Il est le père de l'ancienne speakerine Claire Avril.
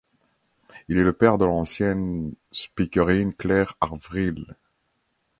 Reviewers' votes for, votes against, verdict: 1, 2, rejected